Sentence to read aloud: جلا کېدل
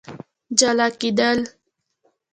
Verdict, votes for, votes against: rejected, 0, 2